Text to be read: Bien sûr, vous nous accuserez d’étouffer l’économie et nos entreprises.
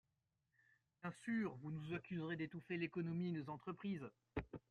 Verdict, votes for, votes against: rejected, 1, 3